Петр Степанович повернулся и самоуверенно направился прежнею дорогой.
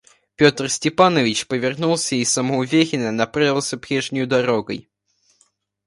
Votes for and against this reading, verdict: 0, 2, rejected